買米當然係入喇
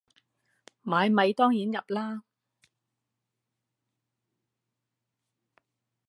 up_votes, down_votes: 0, 2